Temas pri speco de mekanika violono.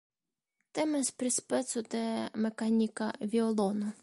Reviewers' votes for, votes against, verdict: 2, 1, accepted